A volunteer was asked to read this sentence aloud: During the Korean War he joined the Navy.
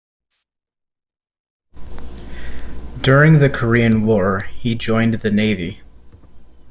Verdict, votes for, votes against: accepted, 2, 0